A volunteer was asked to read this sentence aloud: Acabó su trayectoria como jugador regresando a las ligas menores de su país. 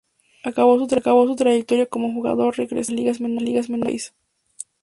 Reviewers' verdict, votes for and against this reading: rejected, 0, 2